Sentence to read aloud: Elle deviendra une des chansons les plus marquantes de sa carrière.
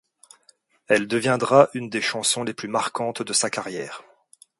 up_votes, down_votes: 2, 0